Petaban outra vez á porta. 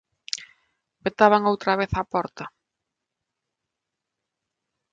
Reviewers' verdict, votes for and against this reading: accepted, 2, 0